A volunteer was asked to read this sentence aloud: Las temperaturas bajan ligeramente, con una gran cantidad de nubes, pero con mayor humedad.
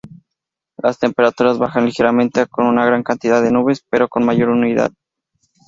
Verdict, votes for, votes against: rejected, 0, 4